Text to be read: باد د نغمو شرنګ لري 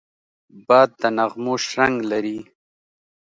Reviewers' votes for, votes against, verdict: 2, 0, accepted